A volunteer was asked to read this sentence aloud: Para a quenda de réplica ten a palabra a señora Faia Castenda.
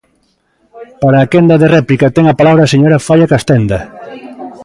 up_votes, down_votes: 1, 2